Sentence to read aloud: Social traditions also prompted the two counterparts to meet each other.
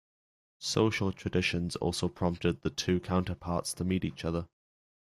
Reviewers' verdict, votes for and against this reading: accepted, 4, 1